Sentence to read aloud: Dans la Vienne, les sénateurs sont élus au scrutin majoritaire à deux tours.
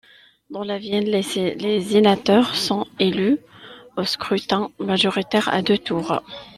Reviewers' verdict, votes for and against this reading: rejected, 0, 2